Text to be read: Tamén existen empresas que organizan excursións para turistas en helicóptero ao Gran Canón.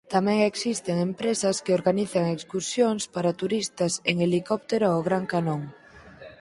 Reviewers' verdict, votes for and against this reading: accepted, 6, 2